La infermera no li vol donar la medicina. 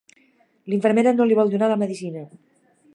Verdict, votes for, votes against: rejected, 0, 3